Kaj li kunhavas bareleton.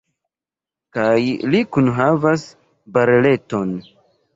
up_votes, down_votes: 2, 1